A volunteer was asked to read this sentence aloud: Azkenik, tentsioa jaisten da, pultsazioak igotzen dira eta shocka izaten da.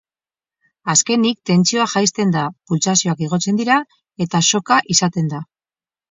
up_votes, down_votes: 0, 2